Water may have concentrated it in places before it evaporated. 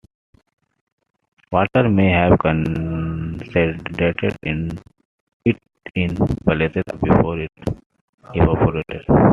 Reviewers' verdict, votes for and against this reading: rejected, 0, 2